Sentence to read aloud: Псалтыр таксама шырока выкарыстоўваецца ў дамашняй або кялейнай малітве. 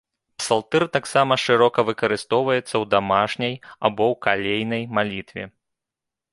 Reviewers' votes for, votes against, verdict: 0, 2, rejected